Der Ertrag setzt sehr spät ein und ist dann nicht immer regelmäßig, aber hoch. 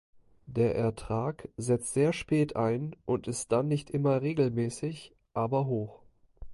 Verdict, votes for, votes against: accepted, 3, 0